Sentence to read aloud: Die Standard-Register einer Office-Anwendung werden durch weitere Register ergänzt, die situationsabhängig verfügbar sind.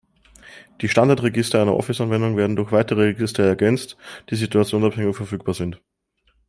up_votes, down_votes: 2, 0